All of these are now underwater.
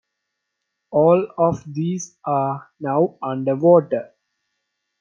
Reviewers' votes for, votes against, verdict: 2, 0, accepted